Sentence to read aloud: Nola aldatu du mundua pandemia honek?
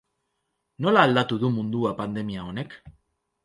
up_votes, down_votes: 2, 0